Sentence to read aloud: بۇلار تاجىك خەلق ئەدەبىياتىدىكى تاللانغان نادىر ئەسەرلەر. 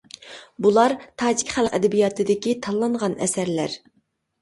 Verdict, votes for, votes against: rejected, 0, 2